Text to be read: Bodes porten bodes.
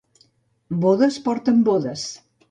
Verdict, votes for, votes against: accepted, 2, 0